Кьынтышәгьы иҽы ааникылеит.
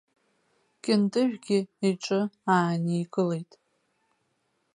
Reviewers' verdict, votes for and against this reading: rejected, 0, 2